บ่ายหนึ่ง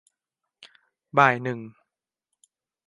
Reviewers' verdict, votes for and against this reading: accepted, 2, 0